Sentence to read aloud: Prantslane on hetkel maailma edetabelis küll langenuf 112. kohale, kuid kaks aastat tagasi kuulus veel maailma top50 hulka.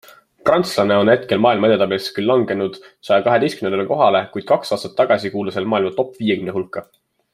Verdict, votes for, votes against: rejected, 0, 2